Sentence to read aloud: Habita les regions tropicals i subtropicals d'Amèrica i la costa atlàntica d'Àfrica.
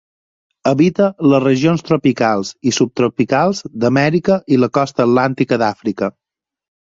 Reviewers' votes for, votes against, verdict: 4, 0, accepted